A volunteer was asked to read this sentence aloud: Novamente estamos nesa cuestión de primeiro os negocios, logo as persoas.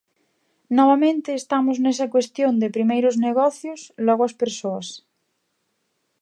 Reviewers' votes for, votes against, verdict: 2, 0, accepted